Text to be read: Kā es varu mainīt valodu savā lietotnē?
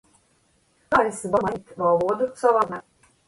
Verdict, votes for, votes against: rejected, 0, 2